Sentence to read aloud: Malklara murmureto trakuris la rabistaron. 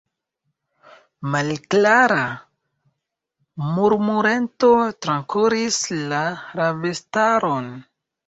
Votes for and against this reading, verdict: 0, 2, rejected